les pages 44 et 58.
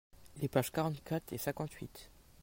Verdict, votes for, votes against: rejected, 0, 2